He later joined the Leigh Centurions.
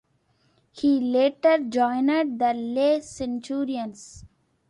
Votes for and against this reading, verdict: 2, 1, accepted